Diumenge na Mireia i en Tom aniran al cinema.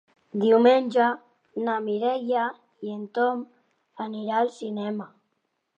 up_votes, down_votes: 1, 2